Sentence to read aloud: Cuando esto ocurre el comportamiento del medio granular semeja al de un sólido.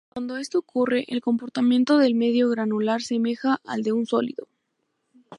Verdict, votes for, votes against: accepted, 2, 0